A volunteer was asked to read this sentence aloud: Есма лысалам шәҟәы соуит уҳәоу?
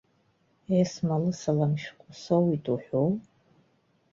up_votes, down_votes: 2, 0